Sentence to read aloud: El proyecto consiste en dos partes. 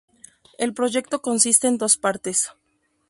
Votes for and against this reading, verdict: 0, 2, rejected